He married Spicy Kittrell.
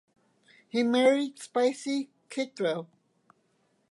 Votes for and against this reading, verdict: 2, 0, accepted